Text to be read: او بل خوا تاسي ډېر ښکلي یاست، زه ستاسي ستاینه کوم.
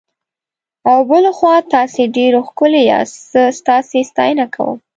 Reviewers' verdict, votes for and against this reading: accepted, 2, 0